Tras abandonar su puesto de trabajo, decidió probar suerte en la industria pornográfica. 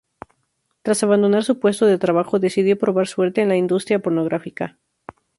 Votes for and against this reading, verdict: 4, 0, accepted